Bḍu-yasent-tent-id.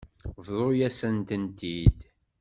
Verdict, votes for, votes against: accepted, 2, 0